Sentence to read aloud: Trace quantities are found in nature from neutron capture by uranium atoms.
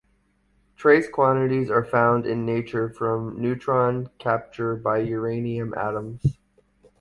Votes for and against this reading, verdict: 1, 2, rejected